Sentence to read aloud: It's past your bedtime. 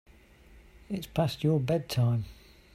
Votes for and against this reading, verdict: 2, 0, accepted